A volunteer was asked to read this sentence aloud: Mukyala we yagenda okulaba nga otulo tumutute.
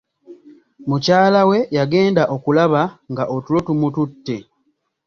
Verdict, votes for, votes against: accepted, 2, 1